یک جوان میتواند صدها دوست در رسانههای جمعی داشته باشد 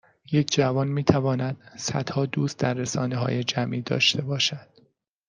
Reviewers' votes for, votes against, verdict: 2, 0, accepted